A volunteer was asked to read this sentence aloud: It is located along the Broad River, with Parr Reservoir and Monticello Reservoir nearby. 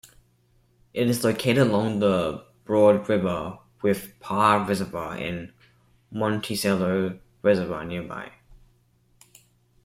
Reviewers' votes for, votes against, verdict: 2, 0, accepted